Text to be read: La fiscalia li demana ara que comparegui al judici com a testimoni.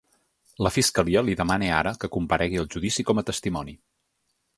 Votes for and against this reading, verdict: 5, 0, accepted